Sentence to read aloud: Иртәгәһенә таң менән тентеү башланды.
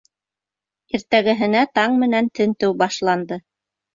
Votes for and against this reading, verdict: 2, 0, accepted